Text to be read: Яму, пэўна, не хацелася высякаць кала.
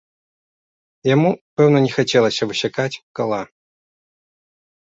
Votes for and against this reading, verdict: 2, 0, accepted